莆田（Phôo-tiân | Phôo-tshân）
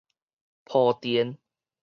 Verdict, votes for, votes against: rejected, 2, 2